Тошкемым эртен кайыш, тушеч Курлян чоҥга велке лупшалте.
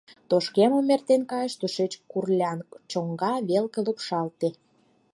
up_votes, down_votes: 2, 4